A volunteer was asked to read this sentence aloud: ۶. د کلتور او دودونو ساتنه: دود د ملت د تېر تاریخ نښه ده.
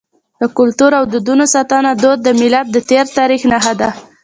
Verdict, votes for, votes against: rejected, 0, 2